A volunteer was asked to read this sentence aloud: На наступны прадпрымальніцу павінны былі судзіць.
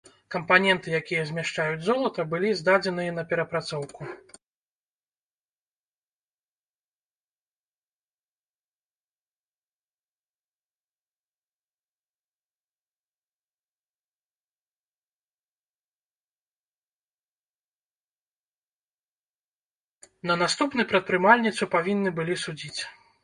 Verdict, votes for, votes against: rejected, 0, 2